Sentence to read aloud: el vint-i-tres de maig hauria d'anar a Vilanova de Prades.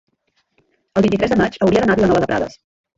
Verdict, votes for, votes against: rejected, 1, 2